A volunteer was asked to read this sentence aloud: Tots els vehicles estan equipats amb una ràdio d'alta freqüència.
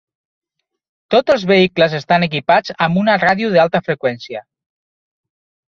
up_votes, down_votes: 0, 3